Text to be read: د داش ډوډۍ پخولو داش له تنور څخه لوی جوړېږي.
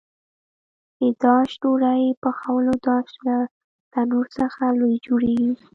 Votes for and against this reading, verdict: 2, 1, accepted